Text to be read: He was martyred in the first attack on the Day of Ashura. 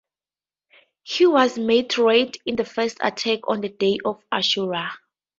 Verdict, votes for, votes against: rejected, 2, 2